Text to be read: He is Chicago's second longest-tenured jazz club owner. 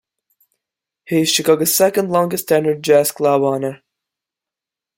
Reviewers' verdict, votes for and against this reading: rejected, 1, 2